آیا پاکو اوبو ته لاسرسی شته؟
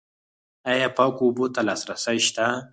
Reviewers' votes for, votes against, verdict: 6, 4, accepted